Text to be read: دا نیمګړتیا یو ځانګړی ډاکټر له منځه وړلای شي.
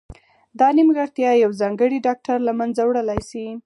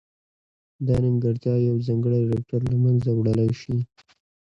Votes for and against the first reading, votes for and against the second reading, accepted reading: 2, 4, 2, 0, second